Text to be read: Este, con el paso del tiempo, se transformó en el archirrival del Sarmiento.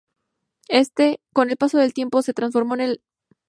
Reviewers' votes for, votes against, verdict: 0, 2, rejected